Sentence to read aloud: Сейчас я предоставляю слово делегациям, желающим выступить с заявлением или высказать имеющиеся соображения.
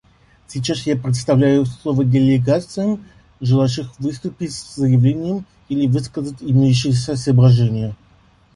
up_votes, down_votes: 0, 2